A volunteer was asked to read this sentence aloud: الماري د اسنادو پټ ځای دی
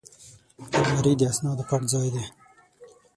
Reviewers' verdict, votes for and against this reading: rejected, 3, 6